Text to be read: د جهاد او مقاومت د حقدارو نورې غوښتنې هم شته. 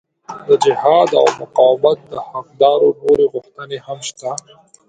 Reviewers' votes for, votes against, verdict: 2, 0, accepted